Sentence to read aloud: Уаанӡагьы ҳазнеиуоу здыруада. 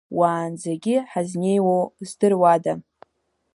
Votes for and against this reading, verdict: 2, 0, accepted